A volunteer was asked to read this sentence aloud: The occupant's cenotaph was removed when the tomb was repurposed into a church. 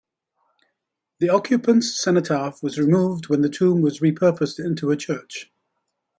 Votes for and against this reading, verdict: 2, 0, accepted